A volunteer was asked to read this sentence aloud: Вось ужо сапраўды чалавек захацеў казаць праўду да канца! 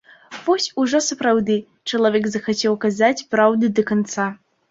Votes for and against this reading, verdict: 3, 1, accepted